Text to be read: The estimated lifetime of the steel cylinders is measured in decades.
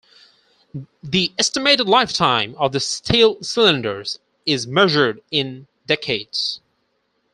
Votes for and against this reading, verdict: 4, 0, accepted